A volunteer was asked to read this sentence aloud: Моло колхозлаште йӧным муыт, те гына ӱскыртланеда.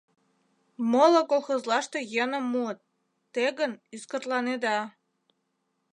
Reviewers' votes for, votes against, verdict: 0, 2, rejected